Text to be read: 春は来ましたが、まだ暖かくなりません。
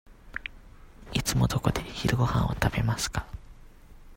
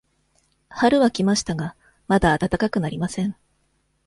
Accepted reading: second